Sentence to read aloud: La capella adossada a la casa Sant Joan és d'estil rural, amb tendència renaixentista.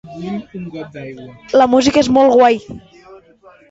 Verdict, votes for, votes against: rejected, 1, 2